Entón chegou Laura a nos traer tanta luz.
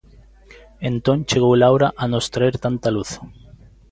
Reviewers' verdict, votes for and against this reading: accepted, 2, 0